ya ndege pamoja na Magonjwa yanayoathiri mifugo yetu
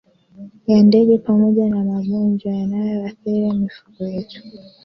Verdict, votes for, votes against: accepted, 2, 0